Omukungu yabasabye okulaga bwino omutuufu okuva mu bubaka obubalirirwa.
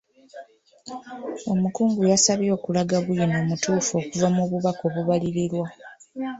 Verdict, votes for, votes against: accepted, 3, 2